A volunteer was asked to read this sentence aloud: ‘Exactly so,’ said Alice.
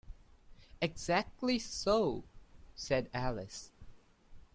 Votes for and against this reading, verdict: 2, 0, accepted